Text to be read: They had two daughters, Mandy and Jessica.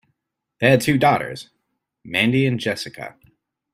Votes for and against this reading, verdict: 2, 0, accepted